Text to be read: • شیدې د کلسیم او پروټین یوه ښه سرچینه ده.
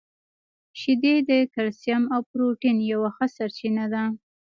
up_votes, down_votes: 2, 1